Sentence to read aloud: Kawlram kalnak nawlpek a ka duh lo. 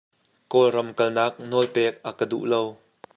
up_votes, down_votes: 2, 0